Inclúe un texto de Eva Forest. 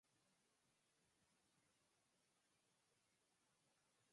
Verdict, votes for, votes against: rejected, 0, 4